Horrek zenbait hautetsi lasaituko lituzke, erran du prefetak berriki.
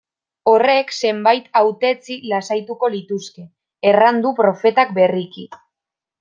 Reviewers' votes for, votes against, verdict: 0, 2, rejected